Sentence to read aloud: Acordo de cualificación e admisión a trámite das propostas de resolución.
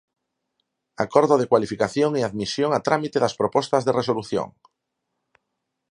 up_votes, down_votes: 4, 0